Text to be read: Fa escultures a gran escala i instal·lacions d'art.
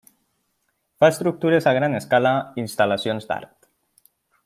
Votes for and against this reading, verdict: 1, 2, rejected